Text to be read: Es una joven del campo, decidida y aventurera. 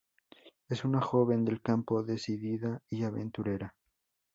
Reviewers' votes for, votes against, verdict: 6, 0, accepted